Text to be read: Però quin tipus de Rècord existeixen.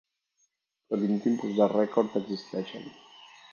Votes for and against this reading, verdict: 1, 3, rejected